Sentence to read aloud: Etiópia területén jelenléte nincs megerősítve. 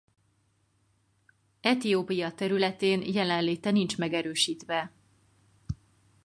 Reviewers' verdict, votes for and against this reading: accepted, 4, 0